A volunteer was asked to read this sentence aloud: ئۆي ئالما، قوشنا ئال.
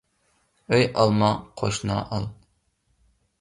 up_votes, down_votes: 2, 0